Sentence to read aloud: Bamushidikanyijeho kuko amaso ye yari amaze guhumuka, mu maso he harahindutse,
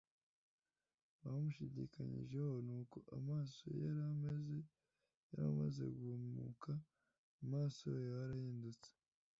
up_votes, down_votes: 1, 2